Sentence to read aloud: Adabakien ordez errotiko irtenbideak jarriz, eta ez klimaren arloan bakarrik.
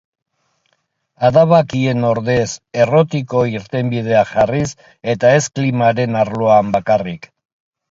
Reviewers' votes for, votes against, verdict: 2, 0, accepted